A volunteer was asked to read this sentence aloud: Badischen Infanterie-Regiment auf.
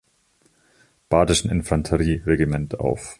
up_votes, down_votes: 1, 2